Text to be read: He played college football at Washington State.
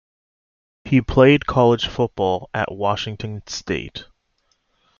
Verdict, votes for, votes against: accepted, 2, 0